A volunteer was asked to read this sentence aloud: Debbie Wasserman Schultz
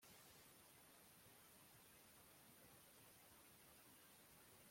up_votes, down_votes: 0, 2